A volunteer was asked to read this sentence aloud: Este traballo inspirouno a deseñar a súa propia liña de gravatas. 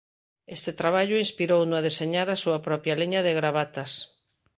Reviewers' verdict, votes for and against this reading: accepted, 2, 0